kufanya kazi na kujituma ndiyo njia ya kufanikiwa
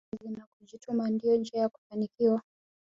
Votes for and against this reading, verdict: 1, 2, rejected